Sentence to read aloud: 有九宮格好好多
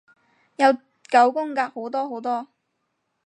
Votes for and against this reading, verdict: 0, 4, rejected